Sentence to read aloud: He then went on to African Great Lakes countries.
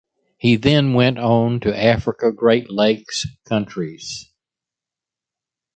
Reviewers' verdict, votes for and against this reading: rejected, 1, 2